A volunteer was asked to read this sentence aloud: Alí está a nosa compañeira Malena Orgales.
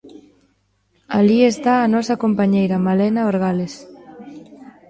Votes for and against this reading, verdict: 1, 2, rejected